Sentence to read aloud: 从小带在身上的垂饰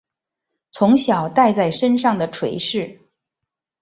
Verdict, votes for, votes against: accepted, 8, 1